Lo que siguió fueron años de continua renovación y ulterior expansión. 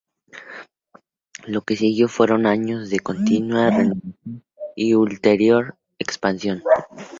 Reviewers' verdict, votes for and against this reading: rejected, 0, 2